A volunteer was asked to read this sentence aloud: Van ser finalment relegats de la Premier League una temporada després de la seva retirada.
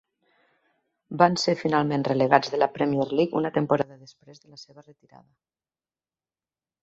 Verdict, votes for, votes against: rejected, 0, 2